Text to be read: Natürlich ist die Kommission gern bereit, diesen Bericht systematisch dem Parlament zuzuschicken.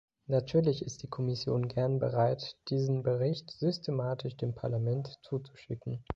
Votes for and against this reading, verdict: 2, 0, accepted